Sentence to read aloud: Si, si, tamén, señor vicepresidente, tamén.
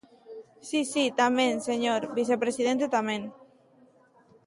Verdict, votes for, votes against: accepted, 2, 0